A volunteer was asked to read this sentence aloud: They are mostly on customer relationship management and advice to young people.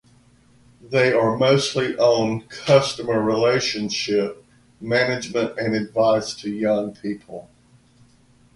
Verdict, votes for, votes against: accepted, 2, 0